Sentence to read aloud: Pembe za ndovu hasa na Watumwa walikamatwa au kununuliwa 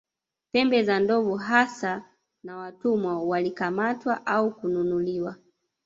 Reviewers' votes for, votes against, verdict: 0, 2, rejected